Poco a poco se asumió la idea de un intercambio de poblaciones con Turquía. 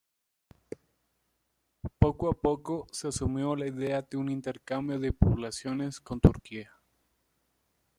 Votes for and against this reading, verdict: 1, 2, rejected